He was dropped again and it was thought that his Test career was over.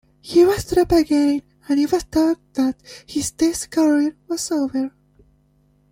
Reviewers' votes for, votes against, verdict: 0, 2, rejected